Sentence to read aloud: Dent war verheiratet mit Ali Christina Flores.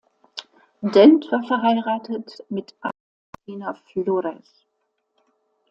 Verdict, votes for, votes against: rejected, 0, 2